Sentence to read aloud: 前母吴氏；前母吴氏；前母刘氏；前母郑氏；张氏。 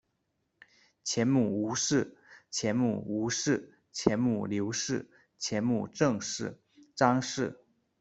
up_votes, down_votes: 2, 0